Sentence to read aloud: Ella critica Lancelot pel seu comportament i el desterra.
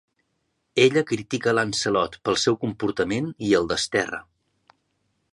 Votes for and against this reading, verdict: 2, 0, accepted